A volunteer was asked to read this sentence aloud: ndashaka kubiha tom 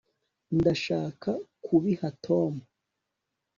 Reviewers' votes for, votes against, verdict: 3, 0, accepted